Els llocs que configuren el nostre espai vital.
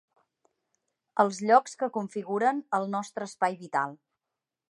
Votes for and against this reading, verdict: 5, 0, accepted